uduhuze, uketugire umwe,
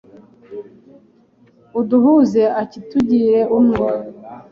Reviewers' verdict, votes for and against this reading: rejected, 0, 2